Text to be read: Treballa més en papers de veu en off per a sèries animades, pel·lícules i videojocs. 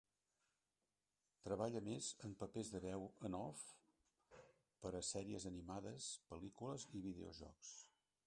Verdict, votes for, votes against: rejected, 0, 2